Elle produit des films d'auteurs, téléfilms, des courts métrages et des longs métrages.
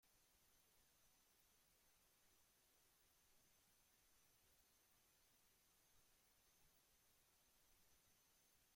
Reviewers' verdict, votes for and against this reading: rejected, 0, 2